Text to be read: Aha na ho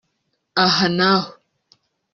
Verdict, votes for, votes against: accepted, 3, 0